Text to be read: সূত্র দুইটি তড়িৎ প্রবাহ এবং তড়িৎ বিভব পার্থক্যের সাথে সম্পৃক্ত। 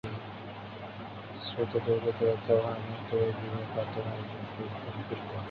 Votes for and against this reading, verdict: 2, 22, rejected